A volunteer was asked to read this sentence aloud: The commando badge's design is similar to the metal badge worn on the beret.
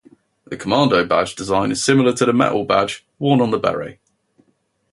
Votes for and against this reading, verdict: 2, 0, accepted